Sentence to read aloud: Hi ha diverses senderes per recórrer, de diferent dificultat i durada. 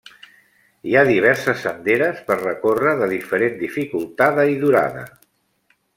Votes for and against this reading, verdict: 0, 2, rejected